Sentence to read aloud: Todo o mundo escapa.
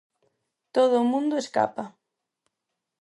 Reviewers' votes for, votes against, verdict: 4, 0, accepted